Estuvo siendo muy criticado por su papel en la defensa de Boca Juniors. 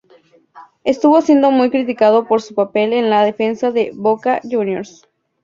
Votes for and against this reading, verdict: 2, 0, accepted